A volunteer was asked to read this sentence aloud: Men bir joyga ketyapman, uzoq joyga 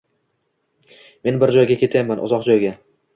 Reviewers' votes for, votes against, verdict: 2, 0, accepted